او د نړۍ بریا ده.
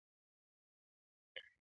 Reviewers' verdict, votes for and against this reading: rejected, 0, 2